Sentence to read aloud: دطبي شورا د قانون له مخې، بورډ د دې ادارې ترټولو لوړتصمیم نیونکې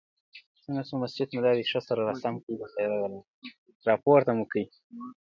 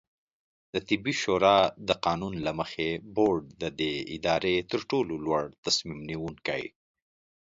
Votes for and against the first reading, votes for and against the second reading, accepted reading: 1, 2, 2, 0, second